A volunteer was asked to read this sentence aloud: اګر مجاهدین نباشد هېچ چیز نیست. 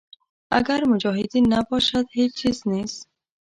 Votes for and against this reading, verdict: 1, 2, rejected